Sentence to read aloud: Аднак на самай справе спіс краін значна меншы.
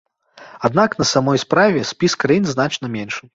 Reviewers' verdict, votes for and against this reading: rejected, 0, 2